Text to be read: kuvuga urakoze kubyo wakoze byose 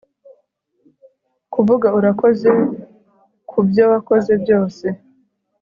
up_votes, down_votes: 2, 1